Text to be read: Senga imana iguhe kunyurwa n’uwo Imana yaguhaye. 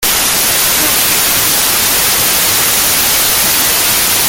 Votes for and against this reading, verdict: 0, 2, rejected